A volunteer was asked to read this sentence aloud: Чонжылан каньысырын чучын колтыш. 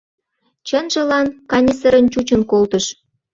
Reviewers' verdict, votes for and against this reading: rejected, 0, 2